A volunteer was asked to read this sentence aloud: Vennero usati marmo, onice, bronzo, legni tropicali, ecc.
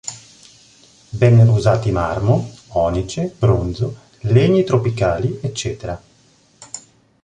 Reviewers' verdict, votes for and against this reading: accepted, 2, 0